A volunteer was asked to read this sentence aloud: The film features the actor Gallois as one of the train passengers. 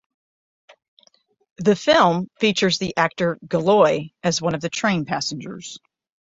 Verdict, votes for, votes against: rejected, 3, 3